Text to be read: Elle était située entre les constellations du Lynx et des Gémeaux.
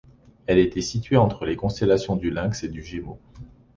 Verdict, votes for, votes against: rejected, 0, 2